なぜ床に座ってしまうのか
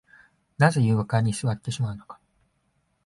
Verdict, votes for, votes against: accepted, 2, 0